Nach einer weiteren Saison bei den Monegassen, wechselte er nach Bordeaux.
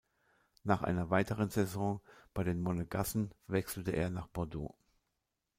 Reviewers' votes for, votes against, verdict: 2, 0, accepted